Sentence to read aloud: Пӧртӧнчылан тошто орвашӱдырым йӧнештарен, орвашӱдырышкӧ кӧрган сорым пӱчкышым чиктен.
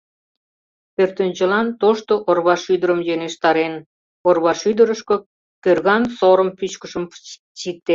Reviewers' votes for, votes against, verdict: 1, 2, rejected